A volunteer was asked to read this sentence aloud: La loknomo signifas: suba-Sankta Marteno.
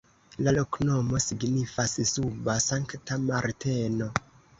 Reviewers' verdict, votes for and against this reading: accepted, 2, 0